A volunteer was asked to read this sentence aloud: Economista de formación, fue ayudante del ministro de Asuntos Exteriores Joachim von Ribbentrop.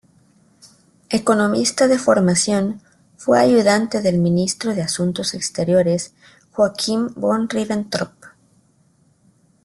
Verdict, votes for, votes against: accepted, 2, 0